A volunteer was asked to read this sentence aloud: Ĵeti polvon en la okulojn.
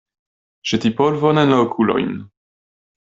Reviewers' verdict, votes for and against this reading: accepted, 2, 0